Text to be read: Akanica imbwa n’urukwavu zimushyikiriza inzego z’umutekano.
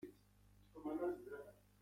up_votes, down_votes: 0, 2